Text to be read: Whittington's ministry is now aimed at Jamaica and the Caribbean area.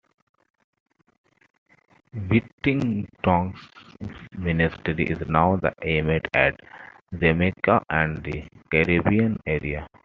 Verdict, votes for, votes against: accepted, 2, 0